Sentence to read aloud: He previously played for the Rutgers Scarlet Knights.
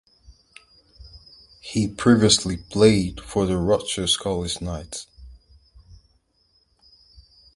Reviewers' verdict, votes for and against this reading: accepted, 4, 0